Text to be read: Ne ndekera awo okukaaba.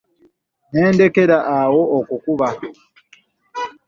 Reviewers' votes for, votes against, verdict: 2, 3, rejected